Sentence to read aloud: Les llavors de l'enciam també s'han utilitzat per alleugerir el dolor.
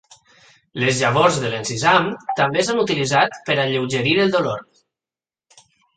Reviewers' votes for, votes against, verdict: 1, 2, rejected